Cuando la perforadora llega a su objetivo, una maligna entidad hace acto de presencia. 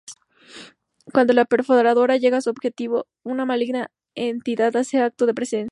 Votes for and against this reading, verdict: 0, 2, rejected